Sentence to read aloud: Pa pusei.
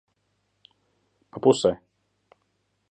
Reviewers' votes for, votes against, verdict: 2, 0, accepted